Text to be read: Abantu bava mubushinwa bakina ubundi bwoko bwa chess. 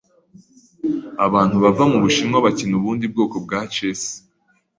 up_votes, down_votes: 2, 0